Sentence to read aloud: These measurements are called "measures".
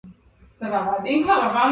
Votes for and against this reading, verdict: 0, 2, rejected